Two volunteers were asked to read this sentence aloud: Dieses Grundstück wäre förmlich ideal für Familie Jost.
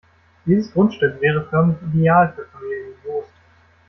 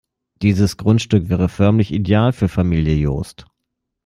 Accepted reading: second